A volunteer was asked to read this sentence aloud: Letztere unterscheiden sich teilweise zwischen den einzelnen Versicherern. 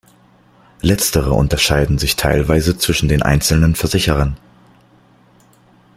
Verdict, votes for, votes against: accepted, 2, 0